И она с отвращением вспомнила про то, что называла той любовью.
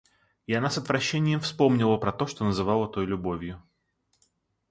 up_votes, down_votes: 2, 0